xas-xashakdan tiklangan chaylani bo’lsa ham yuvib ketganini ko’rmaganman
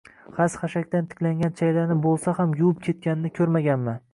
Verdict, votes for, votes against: accepted, 2, 0